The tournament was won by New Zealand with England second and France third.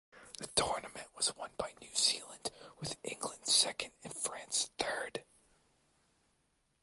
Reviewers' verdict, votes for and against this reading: accepted, 2, 1